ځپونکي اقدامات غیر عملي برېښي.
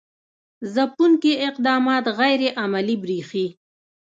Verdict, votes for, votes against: accepted, 2, 0